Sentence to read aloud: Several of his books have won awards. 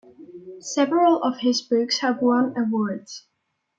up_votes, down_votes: 2, 1